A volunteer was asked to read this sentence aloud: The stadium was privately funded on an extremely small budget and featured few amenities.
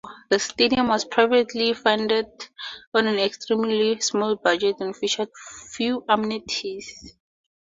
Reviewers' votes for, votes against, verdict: 2, 2, rejected